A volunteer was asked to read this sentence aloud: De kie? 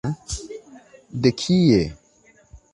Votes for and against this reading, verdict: 2, 0, accepted